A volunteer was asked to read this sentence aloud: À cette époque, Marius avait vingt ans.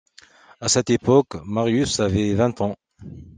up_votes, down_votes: 2, 0